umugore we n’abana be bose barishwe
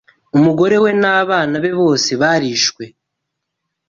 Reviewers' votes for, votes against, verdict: 2, 0, accepted